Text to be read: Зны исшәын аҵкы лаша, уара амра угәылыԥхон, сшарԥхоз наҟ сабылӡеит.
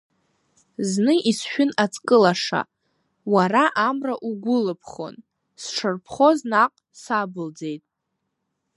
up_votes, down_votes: 1, 2